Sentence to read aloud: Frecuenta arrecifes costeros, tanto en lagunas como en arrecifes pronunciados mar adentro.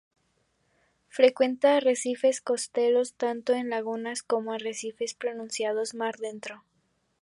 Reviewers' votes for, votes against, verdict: 0, 2, rejected